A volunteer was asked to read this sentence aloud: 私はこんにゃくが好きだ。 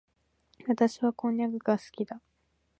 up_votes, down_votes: 2, 1